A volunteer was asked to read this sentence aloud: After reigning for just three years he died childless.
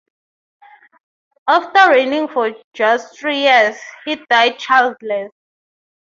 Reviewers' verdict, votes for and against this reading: rejected, 3, 3